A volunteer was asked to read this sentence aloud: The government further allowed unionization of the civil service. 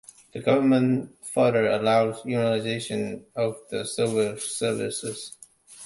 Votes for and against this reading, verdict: 1, 2, rejected